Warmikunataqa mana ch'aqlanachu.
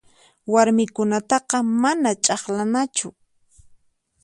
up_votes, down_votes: 4, 0